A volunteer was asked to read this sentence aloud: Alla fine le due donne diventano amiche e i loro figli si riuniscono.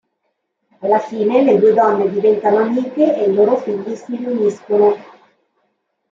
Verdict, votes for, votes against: rejected, 1, 2